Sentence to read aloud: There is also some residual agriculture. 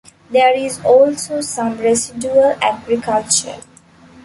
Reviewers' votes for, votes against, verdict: 2, 0, accepted